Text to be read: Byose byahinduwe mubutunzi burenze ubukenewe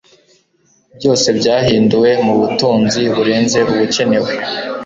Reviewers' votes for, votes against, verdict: 5, 0, accepted